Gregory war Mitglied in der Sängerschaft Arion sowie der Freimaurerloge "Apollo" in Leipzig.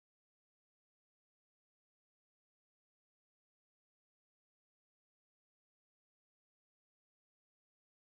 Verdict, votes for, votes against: rejected, 0, 2